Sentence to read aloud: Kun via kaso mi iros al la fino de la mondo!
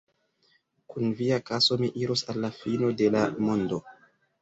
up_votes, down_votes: 2, 0